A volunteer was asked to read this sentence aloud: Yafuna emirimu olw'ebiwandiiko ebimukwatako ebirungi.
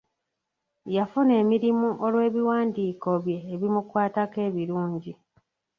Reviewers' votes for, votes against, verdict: 0, 2, rejected